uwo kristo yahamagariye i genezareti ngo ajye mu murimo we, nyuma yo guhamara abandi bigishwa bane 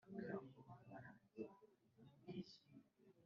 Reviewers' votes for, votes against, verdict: 0, 2, rejected